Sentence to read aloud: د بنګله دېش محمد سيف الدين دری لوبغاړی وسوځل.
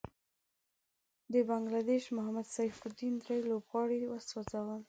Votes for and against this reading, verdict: 2, 1, accepted